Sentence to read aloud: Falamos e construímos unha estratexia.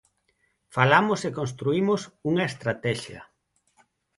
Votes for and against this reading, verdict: 6, 0, accepted